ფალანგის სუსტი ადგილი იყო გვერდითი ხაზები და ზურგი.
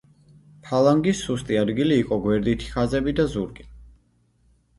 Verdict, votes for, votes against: rejected, 1, 2